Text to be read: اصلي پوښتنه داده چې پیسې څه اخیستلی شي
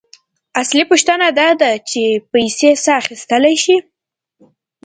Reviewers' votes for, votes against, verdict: 2, 0, accepted